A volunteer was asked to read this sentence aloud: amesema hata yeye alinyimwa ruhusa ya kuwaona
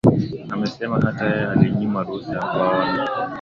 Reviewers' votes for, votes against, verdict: 2, 0, accepted